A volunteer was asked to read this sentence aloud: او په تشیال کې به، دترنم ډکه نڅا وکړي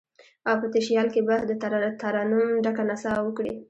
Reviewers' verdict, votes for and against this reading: accepted, 2, 0